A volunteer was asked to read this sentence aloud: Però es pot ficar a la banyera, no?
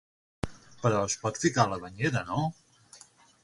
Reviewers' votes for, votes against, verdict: 6, 0, accepted